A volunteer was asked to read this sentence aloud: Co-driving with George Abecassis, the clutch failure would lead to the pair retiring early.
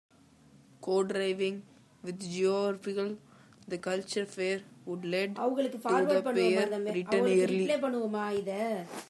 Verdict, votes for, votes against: rejected, 0, 2